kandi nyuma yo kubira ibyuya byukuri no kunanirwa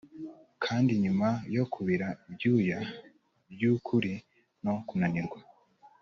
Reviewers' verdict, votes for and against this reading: accepted, 2, 0